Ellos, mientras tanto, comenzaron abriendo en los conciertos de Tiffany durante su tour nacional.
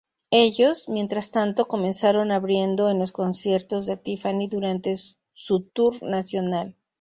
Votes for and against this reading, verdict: 2, 0, accepted